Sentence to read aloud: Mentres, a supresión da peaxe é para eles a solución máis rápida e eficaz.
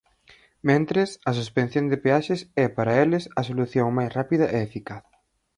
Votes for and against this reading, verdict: 0, 4, rejected